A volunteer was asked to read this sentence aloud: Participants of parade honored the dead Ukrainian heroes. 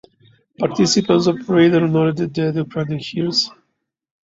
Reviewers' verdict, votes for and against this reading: accepted, 2, 0